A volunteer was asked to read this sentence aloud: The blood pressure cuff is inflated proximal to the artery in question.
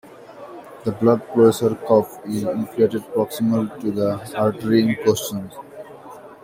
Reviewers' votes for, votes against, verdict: 1, 2, rejected